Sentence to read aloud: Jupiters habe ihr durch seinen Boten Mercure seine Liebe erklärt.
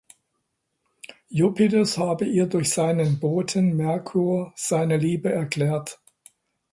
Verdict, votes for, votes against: accepted, 2, 0